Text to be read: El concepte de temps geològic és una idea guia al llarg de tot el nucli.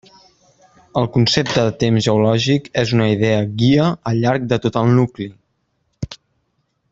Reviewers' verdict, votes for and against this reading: accepted, 3, 0